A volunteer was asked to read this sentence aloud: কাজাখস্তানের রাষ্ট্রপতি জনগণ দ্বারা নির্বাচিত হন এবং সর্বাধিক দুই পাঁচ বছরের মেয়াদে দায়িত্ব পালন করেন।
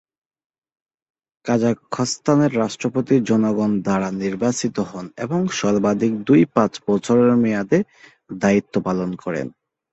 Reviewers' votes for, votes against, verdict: 3, 3, rejected